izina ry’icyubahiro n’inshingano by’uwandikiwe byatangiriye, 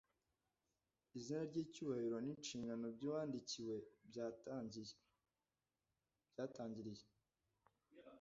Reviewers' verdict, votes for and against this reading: rejected, 0, 2